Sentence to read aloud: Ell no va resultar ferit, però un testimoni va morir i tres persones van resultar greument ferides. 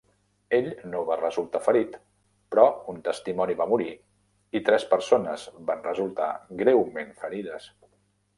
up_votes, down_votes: 3, 0